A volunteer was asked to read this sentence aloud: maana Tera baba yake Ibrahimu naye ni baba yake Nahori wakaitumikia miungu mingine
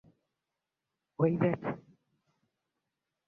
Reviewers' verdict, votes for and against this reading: rejected, 0, 2